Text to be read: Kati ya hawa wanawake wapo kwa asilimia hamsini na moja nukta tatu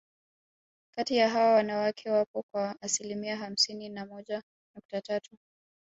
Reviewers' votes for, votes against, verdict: 2, 1, accepted